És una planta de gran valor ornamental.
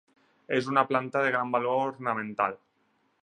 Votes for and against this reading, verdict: 4, 0, accepted